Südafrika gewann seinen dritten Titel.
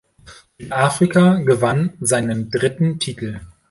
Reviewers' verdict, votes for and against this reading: rejected, 0, 2